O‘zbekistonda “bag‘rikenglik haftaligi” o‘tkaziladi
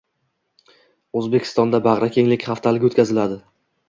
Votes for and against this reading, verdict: 2, 0, accepted